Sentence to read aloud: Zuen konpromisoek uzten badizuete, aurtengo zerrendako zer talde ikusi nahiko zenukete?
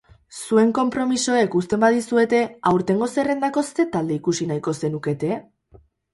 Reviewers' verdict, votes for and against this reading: rejected, 2, 2